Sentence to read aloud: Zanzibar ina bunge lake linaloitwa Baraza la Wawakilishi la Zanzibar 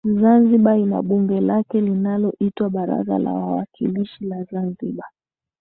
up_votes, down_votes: 2, 0